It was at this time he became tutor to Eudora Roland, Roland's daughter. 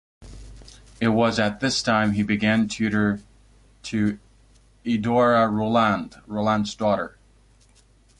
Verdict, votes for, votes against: rejected, 1, 2